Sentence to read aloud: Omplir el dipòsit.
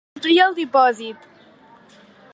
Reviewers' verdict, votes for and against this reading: accepted, 2, 0